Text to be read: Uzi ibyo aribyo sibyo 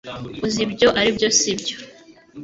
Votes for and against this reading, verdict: 2, 0, accepted